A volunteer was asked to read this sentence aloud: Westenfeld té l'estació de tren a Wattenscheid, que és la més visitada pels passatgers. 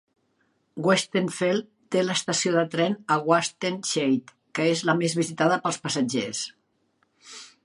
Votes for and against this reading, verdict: 2, 1, accepted